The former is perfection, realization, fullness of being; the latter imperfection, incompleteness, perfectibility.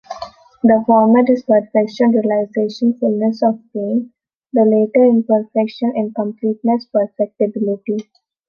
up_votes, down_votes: 0, 2